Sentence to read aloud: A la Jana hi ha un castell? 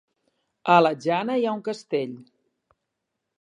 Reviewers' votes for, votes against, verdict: 4, 3, accepted